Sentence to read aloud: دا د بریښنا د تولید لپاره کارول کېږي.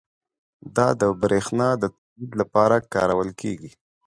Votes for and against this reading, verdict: 1, 2, rejected